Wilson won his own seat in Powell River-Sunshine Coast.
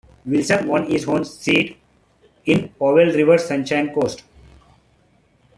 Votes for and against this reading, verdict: 2, 0, accepted